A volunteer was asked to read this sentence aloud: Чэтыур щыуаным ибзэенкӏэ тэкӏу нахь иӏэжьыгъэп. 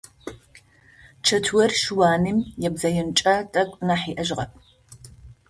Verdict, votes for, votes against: accepted, 2, 0